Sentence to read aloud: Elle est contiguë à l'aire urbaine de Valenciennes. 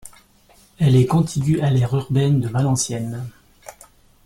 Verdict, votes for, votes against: accepted, 2, 0